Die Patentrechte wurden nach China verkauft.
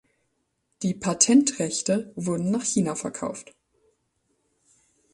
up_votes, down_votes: 2, 0